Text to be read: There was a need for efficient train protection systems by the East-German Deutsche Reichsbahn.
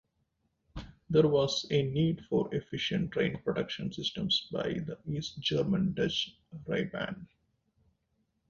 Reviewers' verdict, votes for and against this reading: rejected, 0, 2